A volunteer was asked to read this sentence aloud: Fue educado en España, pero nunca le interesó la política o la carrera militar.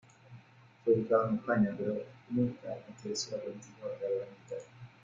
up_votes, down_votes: 0, 2